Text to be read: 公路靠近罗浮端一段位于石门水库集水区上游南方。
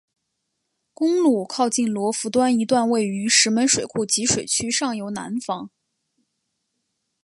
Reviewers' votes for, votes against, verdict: 9, 0, accepted